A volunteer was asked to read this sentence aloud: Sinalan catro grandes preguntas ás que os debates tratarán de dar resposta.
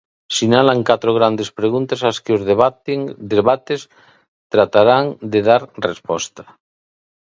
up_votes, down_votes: 1, 2